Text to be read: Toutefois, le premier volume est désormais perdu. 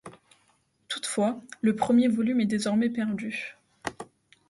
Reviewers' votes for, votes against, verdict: 2, 0, accepted